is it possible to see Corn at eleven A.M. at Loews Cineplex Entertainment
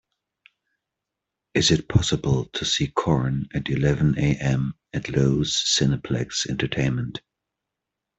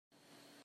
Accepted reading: first